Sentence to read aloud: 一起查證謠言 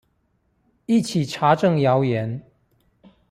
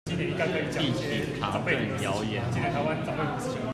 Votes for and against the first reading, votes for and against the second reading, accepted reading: 2, 0, 0, 2, first